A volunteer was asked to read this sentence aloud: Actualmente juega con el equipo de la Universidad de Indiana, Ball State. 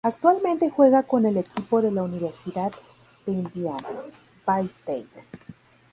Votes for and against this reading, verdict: 4, 0, accepted